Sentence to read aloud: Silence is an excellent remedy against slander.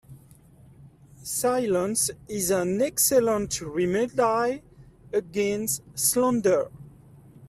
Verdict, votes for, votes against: rejected, 1, 2